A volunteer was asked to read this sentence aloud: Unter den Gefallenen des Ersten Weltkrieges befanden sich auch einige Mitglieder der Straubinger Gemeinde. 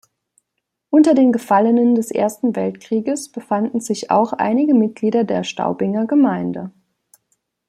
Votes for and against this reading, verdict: 0, 2, rejected